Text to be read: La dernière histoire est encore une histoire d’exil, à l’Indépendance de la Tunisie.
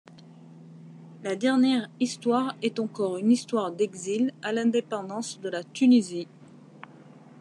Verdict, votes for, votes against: accepted, 2, 0